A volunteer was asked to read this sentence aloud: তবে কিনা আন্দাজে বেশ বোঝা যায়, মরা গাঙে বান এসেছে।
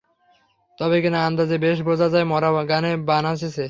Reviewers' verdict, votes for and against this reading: rejected, 0, 3